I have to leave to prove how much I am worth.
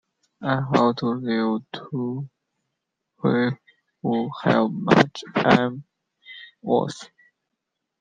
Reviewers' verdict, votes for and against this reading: rejected, 1, 2